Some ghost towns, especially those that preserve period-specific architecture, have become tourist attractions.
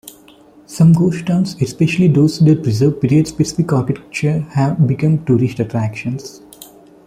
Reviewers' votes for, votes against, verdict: 0, 2, rejected